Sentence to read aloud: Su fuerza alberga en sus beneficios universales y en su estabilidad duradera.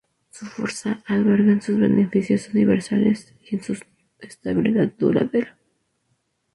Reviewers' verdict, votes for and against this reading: rejected, 0, 2